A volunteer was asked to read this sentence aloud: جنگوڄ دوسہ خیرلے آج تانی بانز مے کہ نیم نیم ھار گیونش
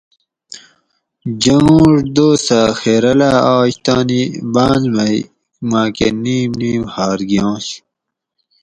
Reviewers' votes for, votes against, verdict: 2, 2, rejected